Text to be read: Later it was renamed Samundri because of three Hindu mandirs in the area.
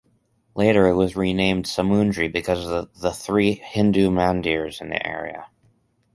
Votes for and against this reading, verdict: 0, 2, rejected